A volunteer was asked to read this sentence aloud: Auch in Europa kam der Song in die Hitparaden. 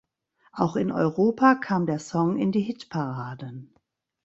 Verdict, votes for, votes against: rejected, 0, 2